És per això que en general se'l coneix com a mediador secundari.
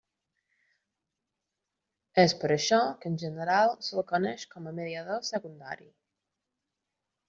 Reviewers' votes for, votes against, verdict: 0, 2, rejected